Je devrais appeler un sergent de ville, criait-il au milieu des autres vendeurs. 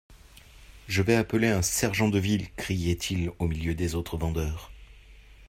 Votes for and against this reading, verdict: 0, 2, rejected